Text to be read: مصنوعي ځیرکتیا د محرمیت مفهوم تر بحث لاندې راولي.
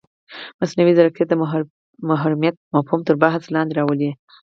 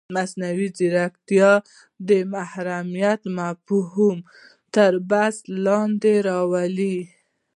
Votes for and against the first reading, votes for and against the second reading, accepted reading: 2, 4, 2, 0, second